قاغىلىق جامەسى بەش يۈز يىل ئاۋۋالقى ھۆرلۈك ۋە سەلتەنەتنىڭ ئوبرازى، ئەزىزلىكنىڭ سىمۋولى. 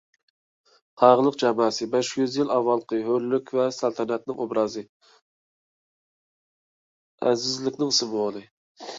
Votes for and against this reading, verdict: 0, 2, rejected